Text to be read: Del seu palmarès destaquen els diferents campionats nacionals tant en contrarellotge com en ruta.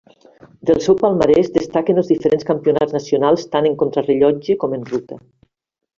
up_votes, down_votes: 2, 1